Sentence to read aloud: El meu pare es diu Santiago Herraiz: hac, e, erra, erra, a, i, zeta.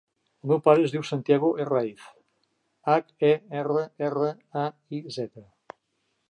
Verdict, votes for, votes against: accepted, 2, 0